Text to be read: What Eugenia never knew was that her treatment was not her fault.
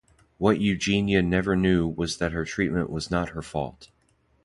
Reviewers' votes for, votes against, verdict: 2, 0, accepted